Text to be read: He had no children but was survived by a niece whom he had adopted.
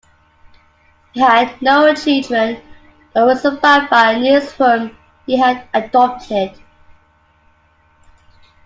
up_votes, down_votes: 0, 2